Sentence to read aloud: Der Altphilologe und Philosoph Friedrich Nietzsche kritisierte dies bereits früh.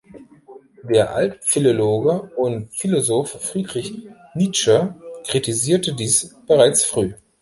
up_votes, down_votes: 2, 0